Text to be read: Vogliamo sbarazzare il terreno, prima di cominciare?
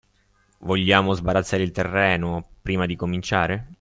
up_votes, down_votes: 2, 0